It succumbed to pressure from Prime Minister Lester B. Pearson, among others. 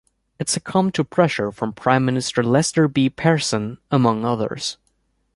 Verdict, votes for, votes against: accepted, 2, 0